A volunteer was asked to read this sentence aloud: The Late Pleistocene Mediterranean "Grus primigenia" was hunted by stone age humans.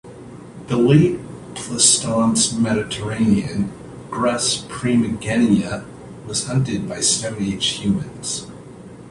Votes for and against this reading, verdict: 0, 2, rejected